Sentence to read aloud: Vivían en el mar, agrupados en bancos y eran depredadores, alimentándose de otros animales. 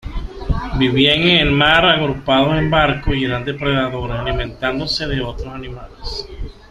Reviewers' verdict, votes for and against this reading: rejected, 0, 2